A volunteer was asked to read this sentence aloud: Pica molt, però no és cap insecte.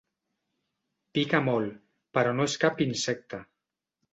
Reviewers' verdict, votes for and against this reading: accepted, 3, 0